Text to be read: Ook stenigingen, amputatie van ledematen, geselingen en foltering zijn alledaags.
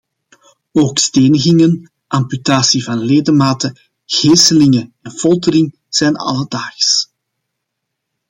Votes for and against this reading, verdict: 2, 0, accepted